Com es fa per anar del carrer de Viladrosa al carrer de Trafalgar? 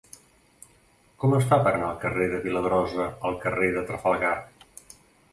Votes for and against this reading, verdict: 2, 0, accepted